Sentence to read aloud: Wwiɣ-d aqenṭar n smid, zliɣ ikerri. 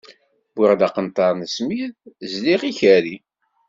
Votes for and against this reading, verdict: 2, 0, accepted